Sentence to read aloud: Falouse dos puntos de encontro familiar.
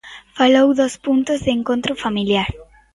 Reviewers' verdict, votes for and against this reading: rejected, 0, 2